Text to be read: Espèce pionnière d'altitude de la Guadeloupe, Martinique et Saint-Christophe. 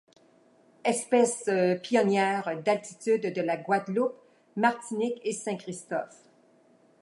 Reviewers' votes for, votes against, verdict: 2, 0, accepted